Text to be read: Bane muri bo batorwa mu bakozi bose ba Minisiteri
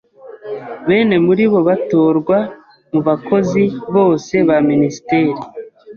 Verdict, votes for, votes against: rejected, 1, 2